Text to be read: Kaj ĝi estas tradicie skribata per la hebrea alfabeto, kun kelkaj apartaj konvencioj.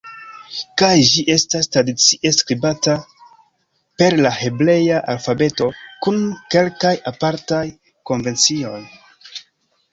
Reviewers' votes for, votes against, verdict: 2, 1, accepted